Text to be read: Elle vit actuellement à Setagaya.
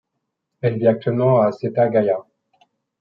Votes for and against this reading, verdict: 2, 0, accepted